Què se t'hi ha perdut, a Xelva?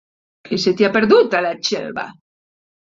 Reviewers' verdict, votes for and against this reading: rejected, 1, 2